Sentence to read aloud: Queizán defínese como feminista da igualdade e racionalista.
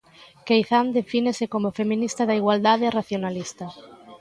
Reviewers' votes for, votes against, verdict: 2, 0, accepted